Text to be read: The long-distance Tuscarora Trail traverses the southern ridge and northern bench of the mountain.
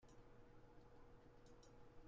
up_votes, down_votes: 0, 2